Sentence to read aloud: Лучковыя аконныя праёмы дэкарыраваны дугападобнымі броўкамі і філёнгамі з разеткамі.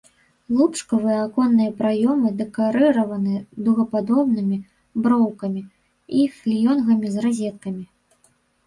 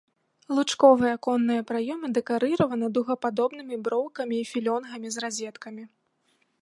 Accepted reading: second